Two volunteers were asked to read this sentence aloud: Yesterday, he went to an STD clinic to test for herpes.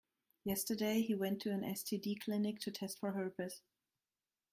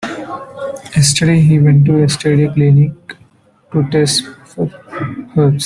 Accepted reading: first